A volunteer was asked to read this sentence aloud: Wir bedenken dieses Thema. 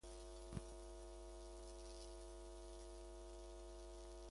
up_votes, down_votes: 0, 2